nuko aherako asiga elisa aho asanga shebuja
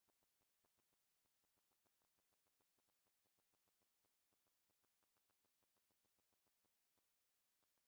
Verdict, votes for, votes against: rejected, 1, 2